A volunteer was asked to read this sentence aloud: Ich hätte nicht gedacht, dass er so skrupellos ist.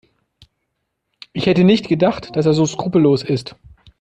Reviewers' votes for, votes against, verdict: 2, 0, accepted